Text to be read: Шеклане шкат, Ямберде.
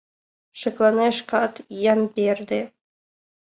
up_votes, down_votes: 2, 0